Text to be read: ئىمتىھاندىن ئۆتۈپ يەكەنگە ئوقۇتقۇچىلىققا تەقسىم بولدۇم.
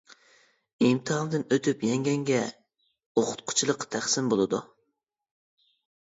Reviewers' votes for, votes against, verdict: 0, 2, rejected